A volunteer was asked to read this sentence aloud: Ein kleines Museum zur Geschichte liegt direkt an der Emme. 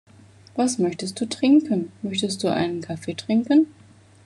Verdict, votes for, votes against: rejected, 0, 2